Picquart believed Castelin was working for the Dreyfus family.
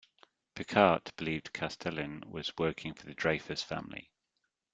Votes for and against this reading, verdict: 2, 0, accepted